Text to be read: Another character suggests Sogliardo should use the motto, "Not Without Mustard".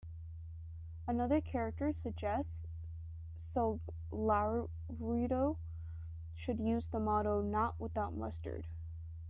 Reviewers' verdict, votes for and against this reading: rejected, 0, 2